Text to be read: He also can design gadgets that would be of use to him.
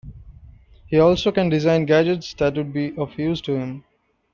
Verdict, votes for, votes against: rejected, 1, 2